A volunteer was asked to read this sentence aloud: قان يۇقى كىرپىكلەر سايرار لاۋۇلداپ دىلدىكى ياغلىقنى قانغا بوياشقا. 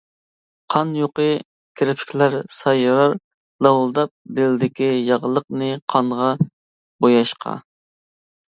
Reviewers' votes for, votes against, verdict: 2, 0, accepted